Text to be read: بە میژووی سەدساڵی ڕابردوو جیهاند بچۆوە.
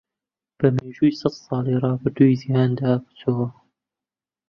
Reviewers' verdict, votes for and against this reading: rejected, 0, 2